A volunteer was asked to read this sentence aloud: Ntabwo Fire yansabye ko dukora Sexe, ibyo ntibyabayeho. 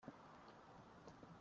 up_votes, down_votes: 0, 2